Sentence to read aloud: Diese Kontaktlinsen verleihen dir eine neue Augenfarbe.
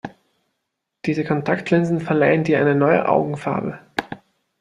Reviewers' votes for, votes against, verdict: 0, 2, rejected